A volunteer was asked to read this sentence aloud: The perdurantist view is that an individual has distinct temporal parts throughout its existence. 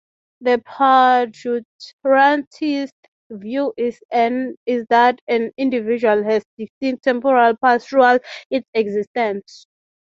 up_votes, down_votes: 0, 6